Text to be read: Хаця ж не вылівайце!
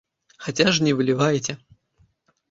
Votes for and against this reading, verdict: 2, 0, accepted